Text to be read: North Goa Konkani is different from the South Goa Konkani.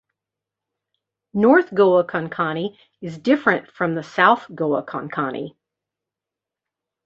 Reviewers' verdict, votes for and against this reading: accepted, 2, 1